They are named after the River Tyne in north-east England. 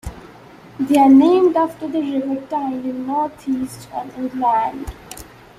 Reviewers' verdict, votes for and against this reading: accepted, 2, 0